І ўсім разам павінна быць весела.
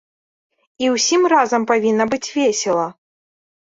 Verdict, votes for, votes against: accepted, 2, 0